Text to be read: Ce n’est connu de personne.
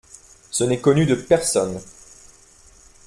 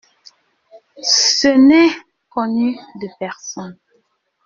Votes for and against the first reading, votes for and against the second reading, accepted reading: 2, 0, 1, 2, first